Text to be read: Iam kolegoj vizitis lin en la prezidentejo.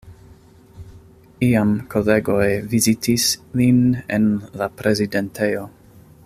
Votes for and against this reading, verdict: 2, 1, accepted